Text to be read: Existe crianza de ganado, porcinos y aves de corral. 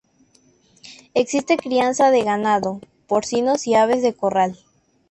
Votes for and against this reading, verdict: 2, 0, accepted